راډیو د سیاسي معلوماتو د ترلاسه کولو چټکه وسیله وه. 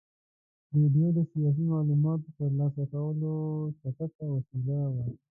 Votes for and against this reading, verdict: 1, 2, rejected